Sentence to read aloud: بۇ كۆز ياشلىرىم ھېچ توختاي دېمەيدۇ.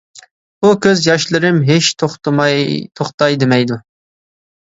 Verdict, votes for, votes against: rejected, 0, 2